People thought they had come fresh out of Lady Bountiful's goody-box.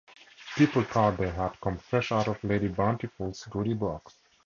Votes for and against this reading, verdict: 2, 0, accepted